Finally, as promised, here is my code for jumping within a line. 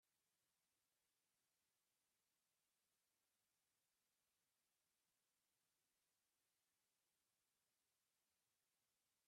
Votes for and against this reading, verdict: 0, 2, rejected